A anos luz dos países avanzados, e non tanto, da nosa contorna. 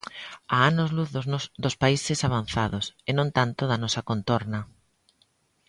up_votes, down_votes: 0, 2